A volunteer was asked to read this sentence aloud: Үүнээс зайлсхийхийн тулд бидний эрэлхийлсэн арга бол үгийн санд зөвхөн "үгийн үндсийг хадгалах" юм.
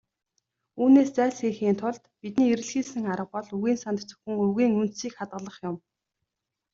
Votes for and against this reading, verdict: 2, 0, accepted